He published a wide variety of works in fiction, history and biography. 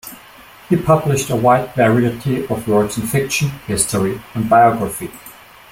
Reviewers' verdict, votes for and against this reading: accepted, 2, 1